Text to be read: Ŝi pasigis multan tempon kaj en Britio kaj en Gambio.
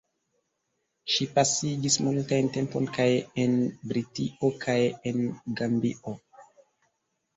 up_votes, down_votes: 1, 2